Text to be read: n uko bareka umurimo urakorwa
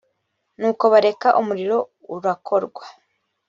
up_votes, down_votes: 1, 2